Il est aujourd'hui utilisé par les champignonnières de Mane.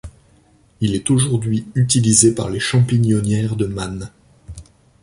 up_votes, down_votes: 2, 0